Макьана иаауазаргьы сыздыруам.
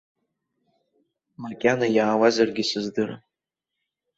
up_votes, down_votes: 2, 0